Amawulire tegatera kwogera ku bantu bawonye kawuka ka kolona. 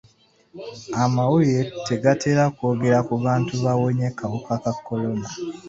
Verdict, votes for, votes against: accepted, 2, 0